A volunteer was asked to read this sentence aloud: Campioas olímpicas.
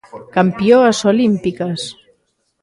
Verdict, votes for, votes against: accepted, 3, 0